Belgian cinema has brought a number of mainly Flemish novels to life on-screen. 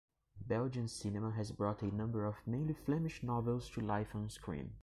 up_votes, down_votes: 2, 0